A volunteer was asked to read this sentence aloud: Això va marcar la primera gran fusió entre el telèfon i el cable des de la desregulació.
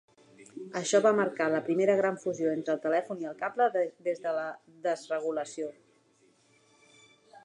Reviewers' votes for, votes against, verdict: 1, 3, rejected